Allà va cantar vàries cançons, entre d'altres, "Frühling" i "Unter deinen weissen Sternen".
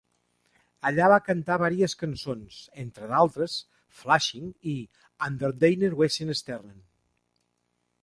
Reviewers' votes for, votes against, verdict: 2, 1, accepted